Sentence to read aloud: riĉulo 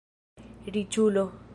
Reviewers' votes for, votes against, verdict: 2, 1, accepted